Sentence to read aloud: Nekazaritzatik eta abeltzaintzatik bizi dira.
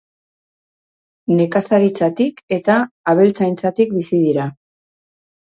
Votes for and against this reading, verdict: 2, 0, accepted